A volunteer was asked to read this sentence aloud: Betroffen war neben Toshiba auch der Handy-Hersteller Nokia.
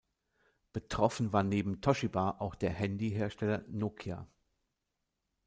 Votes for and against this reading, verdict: 1, 2, rejected